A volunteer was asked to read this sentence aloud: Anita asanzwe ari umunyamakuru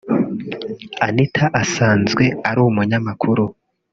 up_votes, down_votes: 0, 2